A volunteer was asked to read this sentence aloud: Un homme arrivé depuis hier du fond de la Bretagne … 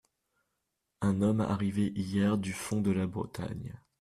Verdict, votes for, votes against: rejected, 0, 3